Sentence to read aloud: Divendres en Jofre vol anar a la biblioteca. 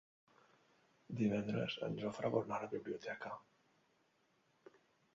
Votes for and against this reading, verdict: 1, 2, rejected